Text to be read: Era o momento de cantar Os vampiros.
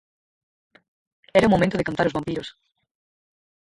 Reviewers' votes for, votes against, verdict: 0, 4, rejected